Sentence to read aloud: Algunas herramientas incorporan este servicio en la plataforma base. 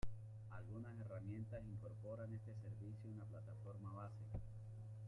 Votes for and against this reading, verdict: 1, 2, rejected